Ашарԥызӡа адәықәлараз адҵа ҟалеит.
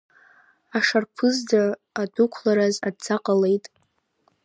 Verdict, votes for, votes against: accepted, 2, 0